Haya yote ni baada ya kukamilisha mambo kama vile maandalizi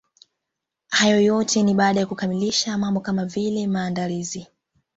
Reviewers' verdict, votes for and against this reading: rejected, 1, 2